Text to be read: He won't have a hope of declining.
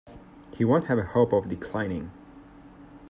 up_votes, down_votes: 2, 0